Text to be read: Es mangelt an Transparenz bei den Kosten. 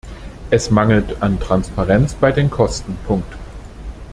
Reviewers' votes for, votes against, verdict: 0, 2, rejected